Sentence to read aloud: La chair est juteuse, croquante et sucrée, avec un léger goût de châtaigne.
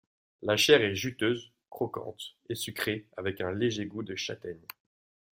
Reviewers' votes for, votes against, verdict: 2, 0, accepted